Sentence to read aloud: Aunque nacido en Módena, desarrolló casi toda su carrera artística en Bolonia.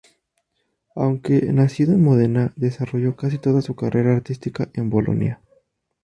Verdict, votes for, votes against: accepted, 2, 0